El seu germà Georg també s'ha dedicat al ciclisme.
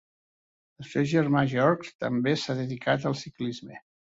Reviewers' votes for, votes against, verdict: 2, 0, accepted